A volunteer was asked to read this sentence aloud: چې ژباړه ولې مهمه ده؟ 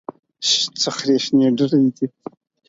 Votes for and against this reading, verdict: 0, 4, rejected